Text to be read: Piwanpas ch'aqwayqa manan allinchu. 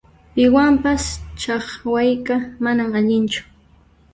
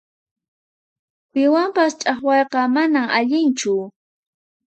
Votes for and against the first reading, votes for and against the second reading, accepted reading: 0, 2, 4, 0, second